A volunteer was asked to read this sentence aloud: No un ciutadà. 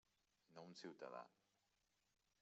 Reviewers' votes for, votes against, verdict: 3, 1, accepted